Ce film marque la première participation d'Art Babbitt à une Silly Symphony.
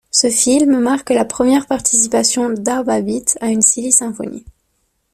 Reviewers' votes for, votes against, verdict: 2, 0, accepted